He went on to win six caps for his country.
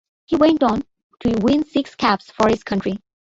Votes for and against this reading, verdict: 4, 3, accepted